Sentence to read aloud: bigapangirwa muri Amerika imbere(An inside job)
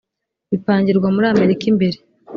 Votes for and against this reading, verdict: 2, 1, accepted